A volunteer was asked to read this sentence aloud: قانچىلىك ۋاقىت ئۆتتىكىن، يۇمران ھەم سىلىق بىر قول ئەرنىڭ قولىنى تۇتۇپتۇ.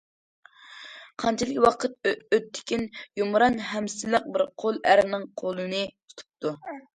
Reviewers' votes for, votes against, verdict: 0, 2, rejected